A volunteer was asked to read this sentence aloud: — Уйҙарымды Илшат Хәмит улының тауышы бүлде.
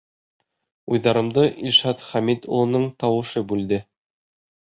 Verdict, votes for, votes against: accepted, 2, 0